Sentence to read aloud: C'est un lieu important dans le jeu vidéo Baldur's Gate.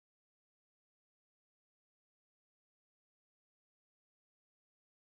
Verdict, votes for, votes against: rejected, 0, 4